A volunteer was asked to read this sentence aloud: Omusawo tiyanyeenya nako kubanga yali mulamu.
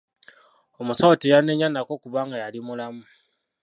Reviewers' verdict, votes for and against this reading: accepted, 2, 0